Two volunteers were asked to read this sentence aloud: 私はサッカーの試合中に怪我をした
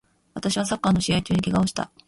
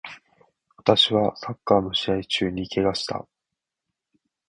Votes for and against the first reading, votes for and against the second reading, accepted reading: 2, 0, 0, 2, first